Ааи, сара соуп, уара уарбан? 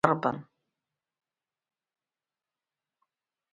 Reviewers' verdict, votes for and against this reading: rejected, 1, 2